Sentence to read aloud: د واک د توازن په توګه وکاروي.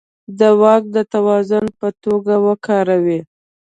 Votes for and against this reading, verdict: 2, 0, accepted